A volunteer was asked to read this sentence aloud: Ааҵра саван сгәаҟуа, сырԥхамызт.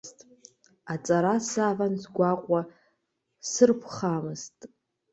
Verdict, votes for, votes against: rejected, 0, 2